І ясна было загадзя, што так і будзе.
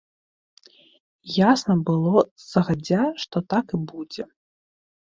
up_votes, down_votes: 0, 2